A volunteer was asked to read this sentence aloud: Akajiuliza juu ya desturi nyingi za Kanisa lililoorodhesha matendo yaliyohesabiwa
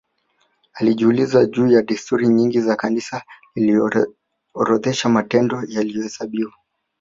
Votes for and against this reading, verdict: 1, 2, rejected